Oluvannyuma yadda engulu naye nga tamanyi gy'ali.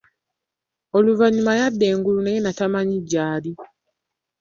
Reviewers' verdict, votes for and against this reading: rejected, 0, 2